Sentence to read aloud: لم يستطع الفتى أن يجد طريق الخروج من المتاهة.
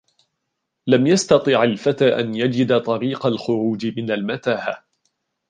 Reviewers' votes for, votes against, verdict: 1, 2, rejected